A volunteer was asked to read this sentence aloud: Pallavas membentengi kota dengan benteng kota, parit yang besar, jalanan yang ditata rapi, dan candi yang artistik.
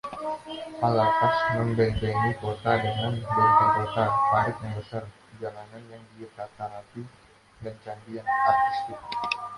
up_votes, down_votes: 0, 2